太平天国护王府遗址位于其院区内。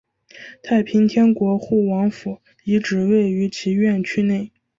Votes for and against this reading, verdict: 4, 0, accepted